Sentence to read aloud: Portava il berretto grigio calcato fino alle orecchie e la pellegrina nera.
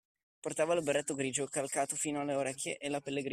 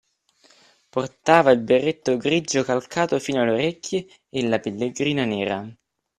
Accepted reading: second